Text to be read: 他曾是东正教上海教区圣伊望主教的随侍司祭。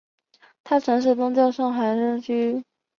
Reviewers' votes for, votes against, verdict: 1, 2, rejected